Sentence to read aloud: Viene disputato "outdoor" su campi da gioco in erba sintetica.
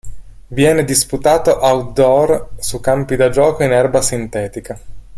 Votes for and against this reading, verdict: 2, 1, accepted